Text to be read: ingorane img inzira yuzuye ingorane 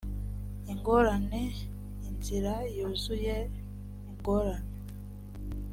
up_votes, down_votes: 2, 3